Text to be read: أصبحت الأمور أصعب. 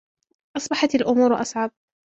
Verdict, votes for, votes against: rejected, 1, 2